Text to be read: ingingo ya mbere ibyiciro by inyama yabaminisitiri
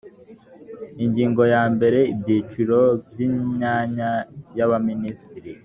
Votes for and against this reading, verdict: 1, 2, rejected